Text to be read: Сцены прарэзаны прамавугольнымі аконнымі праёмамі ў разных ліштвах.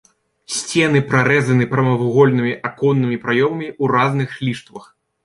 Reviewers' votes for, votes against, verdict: 2, 0, accepted